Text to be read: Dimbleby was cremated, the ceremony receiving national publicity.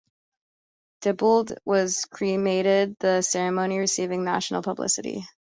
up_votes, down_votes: 0, 2